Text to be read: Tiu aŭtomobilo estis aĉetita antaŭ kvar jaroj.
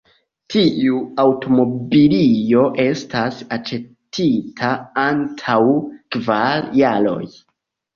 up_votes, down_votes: 1, 2